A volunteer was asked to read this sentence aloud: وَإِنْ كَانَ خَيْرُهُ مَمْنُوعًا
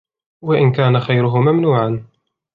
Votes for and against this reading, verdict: 2, 0, accepted